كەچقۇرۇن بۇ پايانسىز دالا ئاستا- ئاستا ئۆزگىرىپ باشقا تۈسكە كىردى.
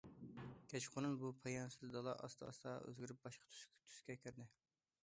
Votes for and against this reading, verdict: 0, 2, rejected